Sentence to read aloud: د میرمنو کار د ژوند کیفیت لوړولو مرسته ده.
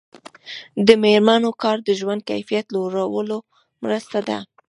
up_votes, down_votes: 2, 1